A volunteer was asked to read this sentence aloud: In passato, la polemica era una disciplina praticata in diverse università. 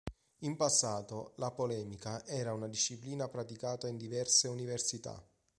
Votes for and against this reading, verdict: 2, 0, accepted